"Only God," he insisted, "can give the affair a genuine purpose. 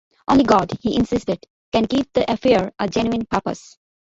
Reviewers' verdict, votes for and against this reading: accepted, 2, 1